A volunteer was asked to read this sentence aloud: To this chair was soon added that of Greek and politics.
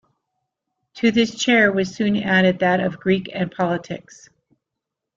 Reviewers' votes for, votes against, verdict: 2, 0, accepted